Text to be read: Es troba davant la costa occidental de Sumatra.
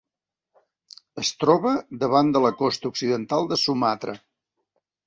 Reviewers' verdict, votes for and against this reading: rejected, 0, 2